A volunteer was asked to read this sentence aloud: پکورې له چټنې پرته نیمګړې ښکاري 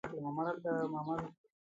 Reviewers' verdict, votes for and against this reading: rejected, 0, 2